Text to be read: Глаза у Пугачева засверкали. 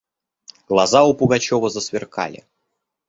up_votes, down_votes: 2, 0